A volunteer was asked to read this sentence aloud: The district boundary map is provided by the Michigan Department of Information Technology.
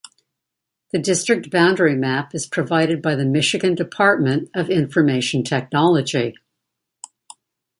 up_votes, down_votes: 2, 0